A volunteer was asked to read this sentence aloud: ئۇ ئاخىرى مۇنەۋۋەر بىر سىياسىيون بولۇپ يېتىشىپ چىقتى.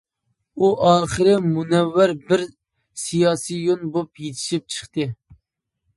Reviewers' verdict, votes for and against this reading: rejected, 1, 2